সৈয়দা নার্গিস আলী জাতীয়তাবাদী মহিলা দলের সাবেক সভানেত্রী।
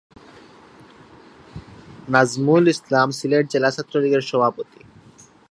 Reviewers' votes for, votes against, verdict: 0, 3, rejected